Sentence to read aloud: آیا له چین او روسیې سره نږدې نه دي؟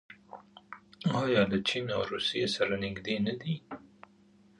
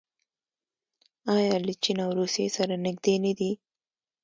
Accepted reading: second